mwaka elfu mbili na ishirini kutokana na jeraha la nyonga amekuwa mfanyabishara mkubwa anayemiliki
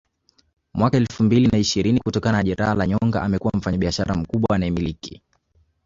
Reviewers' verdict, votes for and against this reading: accepted, 2, 0